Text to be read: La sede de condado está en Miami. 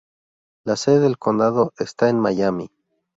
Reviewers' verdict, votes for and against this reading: rejected, 0, 2